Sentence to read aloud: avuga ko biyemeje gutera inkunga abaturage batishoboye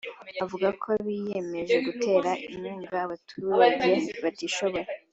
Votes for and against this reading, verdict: 2, 0, accepted